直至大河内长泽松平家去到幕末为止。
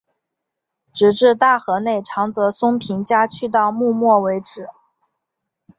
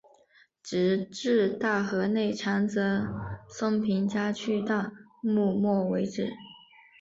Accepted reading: first